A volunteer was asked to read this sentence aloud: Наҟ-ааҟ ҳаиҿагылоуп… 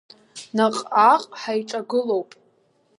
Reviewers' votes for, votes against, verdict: 3, 0, accepted